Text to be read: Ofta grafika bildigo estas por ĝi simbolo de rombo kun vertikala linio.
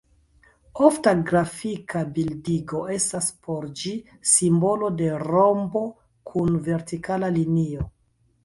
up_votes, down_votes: 1, 2